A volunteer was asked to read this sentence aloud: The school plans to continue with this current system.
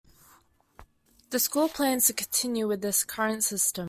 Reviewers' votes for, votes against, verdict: 2, 0, accepted